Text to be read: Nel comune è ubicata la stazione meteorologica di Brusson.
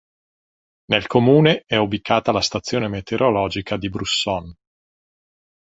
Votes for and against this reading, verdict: 2, 0, accepted